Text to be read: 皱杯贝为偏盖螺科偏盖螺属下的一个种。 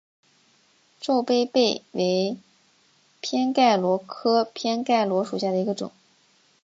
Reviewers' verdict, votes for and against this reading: accepted, 2, 0